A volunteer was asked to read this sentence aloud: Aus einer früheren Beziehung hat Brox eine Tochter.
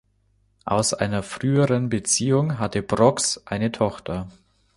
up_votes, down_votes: 0, 2